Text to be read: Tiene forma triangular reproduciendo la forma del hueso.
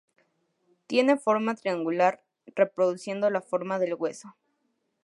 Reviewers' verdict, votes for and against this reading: accepted, 2, 0